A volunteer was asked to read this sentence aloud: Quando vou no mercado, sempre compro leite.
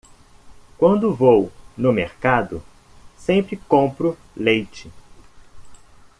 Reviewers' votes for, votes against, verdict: 2, 0, accepted